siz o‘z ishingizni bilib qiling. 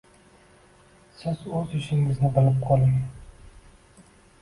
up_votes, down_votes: 1, 2